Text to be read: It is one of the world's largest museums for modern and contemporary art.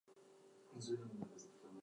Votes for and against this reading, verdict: 0, 2, rejected